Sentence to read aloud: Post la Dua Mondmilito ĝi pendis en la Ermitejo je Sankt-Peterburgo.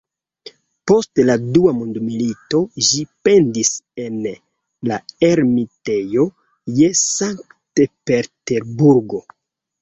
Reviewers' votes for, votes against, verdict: 2, 0, accepted